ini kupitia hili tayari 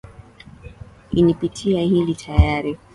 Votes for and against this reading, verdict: 2, 0, accepted